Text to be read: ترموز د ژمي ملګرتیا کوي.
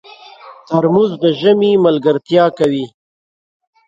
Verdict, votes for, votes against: rejected, 1, 2